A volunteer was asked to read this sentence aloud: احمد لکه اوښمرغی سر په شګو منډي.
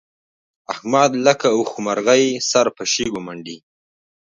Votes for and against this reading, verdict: 2, 0, accepted